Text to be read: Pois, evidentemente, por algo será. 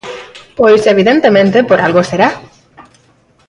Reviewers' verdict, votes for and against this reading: accepted, 3, 0